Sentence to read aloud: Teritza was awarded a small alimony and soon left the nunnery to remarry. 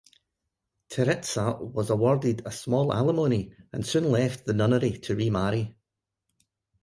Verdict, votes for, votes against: rejected, 3, 6